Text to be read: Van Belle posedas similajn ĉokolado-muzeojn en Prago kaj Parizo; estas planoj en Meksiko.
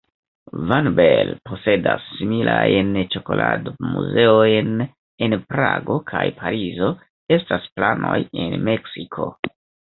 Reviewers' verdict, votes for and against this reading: rejected, 1, 2